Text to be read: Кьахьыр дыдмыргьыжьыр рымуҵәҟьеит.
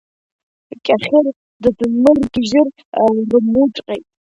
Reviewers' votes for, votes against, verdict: 2, 0, accepted